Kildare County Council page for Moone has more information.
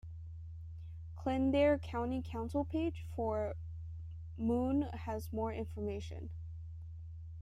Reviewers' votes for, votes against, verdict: 2, 0, accepted